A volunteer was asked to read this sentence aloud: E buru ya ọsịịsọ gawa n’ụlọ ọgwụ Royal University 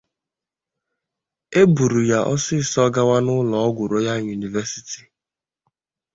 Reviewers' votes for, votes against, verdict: 2, 0, accepted